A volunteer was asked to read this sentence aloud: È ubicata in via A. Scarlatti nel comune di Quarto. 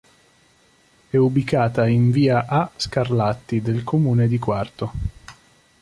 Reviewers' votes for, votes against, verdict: 0, 2, rejected